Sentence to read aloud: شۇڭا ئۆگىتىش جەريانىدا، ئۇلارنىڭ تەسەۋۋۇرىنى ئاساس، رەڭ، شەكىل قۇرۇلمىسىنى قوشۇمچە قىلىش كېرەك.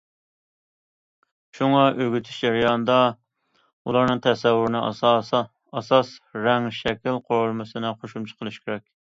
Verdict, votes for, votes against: rejected, 0, 2